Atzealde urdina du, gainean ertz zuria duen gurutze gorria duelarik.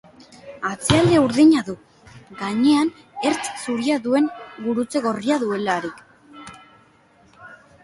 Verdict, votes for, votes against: accepted, 2, 0